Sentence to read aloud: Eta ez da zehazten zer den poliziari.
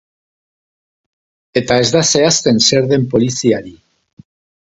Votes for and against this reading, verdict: 2, 0, accepted